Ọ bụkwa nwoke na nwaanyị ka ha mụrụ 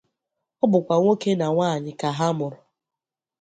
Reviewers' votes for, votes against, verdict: 2, 0, accepted